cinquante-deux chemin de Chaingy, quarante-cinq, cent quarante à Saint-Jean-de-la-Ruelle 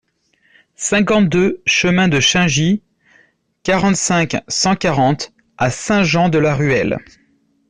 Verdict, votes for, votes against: accepted, 2, 0